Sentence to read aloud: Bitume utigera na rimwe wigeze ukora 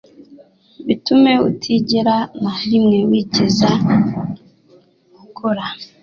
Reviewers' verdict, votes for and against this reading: accepted, 2, 0